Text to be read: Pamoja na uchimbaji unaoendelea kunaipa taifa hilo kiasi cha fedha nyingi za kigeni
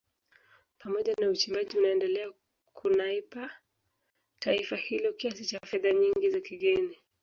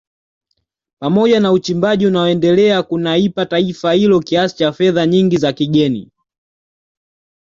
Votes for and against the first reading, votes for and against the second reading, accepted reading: 1, 2, 2, 1, second